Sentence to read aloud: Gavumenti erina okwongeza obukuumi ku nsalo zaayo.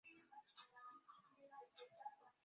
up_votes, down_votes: 0, 2